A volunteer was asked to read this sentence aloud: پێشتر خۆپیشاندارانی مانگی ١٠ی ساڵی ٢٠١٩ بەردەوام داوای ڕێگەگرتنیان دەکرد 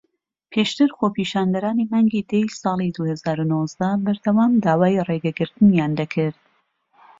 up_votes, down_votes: 0, 2